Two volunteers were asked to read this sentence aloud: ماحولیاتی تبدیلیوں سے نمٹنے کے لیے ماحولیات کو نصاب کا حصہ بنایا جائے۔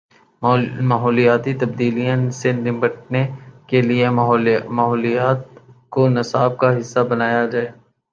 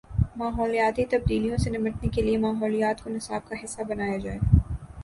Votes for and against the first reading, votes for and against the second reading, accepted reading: 0, 2, 7, 0, second